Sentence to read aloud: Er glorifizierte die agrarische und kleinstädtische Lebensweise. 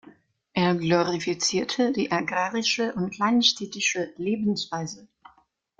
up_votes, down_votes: 2, 0